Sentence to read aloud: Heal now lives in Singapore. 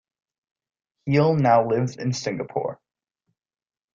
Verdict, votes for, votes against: accepted, 2, 0